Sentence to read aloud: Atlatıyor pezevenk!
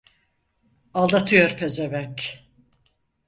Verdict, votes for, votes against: rejected, 0, 4